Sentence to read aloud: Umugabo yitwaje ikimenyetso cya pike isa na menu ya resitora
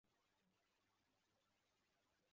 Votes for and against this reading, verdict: 0, 2, rejected